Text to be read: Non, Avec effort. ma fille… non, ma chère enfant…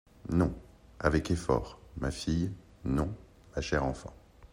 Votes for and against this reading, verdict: 2, 0, accepted